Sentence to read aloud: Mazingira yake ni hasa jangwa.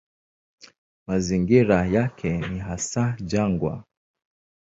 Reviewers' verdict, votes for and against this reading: accepted, 4, 0